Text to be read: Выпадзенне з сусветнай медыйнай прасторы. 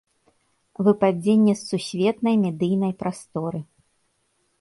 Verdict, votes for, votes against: accepted, 2, 0